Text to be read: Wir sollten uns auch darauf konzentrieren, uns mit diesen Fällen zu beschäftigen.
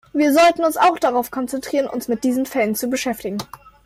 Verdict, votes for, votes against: accepted, 2, 0